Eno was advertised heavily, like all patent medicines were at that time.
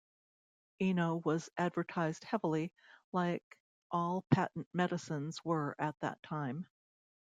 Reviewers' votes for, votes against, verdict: 2, 0, accepted